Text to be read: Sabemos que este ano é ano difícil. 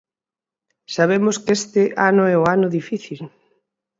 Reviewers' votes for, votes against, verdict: 2, 6, rejected